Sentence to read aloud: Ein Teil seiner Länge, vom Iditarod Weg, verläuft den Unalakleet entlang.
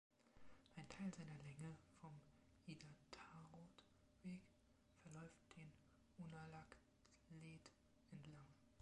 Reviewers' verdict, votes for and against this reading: rejected, 1, 2